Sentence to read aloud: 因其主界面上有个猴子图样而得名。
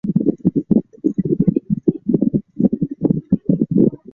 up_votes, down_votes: 0, 3